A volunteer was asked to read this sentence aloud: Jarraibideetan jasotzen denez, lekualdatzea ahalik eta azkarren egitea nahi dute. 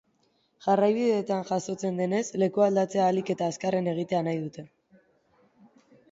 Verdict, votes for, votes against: accepted, 2, 1